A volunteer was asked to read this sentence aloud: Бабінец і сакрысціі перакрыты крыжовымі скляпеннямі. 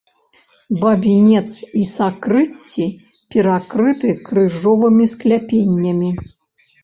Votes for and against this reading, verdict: 0, 2, rejected